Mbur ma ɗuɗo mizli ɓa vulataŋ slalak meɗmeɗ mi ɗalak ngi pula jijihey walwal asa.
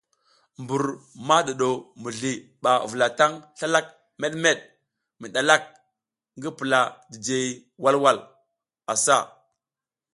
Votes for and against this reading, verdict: 2, 0, accepted